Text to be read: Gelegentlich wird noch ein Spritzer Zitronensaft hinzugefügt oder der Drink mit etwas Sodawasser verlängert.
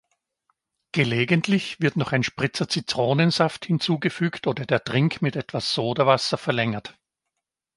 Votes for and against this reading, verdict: 2, 0, accepted